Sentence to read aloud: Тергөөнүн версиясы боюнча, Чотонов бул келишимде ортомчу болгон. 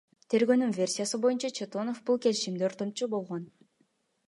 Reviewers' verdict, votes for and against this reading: accepted, 2, 0